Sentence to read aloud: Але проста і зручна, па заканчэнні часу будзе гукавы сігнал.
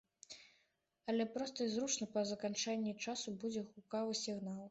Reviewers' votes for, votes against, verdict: 1, 2, rejected